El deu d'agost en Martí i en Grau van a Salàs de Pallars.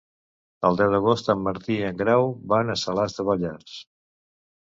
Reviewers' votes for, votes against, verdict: 0, 2, rejected